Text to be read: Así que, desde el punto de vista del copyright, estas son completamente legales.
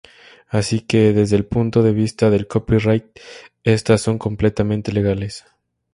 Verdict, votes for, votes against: accepted, 2, 0